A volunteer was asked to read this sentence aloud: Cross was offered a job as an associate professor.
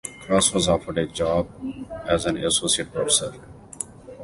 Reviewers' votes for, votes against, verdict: 2, 0, accepted